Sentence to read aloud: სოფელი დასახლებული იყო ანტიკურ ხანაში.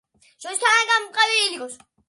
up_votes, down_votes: 0, 2